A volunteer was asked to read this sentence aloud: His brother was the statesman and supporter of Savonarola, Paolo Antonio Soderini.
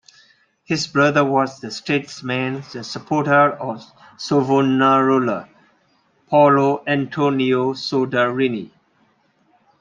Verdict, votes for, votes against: accepted, 2, 1